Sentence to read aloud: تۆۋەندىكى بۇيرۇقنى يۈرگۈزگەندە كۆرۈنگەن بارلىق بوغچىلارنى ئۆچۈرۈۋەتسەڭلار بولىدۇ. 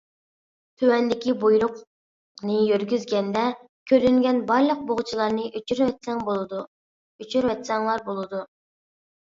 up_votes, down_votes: 1, 2